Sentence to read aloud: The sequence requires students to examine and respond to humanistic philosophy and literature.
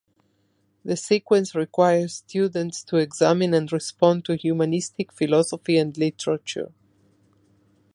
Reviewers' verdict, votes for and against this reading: accepted, 2, 0